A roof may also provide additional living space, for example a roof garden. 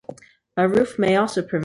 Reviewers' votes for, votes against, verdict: 1, 2, rejected